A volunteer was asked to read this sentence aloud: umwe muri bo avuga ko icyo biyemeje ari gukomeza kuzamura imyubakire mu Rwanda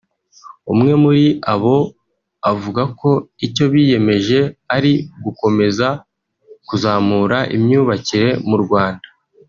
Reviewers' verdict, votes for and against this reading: rejected, 1, 2